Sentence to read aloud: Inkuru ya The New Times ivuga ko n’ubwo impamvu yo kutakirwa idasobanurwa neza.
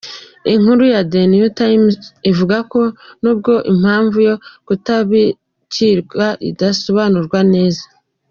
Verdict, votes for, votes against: rejected, 0, 2